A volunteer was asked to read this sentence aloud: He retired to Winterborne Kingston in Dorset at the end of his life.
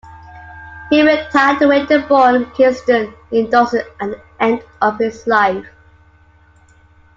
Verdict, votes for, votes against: accepted, 2, 1